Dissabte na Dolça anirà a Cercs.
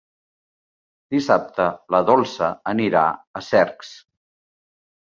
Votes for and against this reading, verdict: 0, 3, rejected